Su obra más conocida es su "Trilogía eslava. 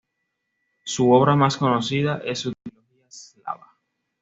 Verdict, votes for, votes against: rejected, 1, 2